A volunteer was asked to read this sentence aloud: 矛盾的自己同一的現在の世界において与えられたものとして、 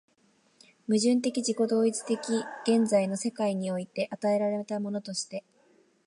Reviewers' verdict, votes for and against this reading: accepted, 2, 0